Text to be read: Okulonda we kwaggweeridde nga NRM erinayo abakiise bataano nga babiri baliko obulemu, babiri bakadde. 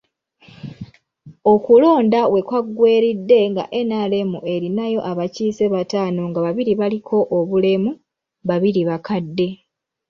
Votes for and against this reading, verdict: 1, 2, rejected